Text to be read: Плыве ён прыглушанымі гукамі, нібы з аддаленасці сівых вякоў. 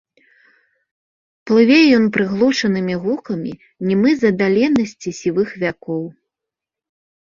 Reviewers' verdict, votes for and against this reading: rejected, 1, 3